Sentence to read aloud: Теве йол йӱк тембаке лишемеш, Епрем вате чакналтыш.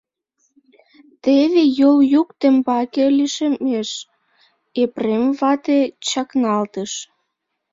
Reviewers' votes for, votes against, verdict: 0, 2, rejected